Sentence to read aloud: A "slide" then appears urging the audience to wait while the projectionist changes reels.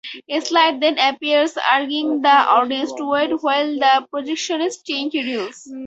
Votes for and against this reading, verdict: 4, 2, accepted